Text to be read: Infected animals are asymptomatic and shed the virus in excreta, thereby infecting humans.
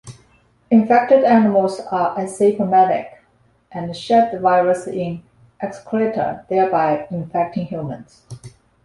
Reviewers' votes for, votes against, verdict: 2, 0, accepted